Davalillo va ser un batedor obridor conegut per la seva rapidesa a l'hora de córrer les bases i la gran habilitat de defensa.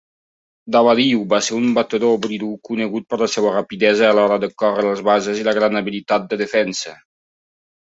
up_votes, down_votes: 0, 2